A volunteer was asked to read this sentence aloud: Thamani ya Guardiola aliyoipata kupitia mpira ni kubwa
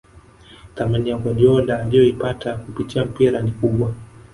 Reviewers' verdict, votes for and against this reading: rejected, 0, 2